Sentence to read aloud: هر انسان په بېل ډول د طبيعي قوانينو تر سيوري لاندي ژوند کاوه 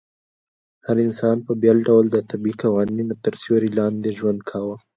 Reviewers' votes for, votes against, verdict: 2, 1, accepted